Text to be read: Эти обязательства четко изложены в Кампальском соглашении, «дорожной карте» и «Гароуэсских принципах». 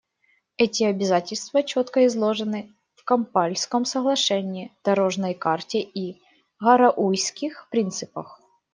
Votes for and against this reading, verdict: 0, 2, rejected